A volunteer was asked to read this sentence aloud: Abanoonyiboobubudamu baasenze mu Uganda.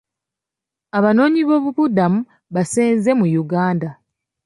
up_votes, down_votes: 2, 0